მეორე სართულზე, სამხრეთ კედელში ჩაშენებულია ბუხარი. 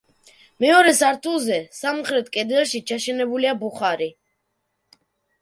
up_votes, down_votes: 0, 2